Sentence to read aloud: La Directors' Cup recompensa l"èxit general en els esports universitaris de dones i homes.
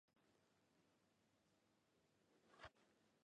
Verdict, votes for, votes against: rejected, 0, 2